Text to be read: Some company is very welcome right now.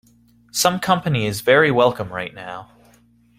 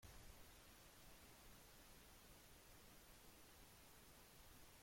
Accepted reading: first